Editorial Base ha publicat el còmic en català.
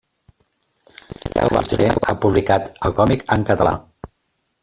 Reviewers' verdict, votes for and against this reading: rejected, 0, 2